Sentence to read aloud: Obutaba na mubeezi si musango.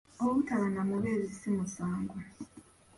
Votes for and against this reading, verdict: 2, 0, accepted